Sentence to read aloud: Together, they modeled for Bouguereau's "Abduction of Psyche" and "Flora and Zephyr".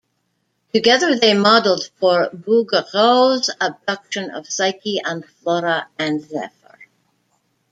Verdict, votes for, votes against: accepted, 2, 1